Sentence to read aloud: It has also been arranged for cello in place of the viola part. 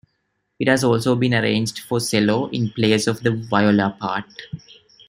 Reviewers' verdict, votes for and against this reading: rejected, 1, 2